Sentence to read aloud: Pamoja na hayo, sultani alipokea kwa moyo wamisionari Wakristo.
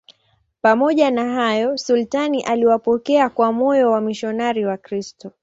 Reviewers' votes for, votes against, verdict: 0, 2, rejected